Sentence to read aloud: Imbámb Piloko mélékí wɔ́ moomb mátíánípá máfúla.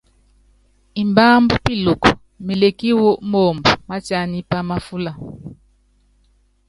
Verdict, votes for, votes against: rejected, 0, 2